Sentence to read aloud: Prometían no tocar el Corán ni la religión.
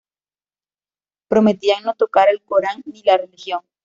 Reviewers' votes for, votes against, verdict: 2, 0, accepted